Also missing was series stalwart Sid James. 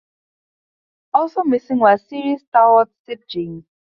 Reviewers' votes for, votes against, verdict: 0, 2, rejected